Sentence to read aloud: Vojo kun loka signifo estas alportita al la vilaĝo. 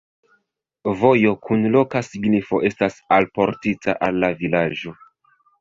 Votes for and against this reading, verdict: 3, 2, accepted